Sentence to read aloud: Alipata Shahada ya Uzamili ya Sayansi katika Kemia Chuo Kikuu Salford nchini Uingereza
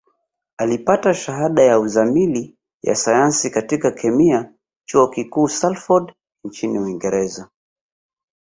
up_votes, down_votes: 3, 0